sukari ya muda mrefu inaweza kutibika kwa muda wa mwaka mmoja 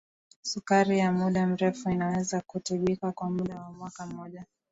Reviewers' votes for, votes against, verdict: 2, 0, accepted